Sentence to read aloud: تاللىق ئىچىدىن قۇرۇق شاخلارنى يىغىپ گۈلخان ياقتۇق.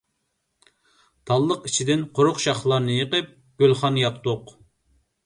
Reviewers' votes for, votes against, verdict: 1, 2, rejected